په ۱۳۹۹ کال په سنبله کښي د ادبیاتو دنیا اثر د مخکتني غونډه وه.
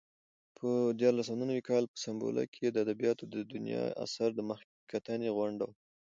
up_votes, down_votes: 0, 2